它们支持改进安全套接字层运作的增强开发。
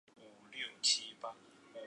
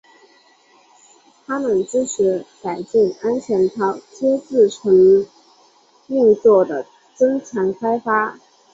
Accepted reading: second